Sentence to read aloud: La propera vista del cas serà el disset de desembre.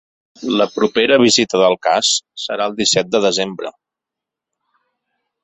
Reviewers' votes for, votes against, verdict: 1, 3, rejected